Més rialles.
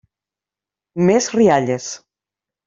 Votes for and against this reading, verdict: 3, 0, accepted